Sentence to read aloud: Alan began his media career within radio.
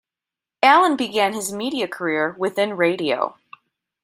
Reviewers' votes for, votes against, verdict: 2, 0, accepted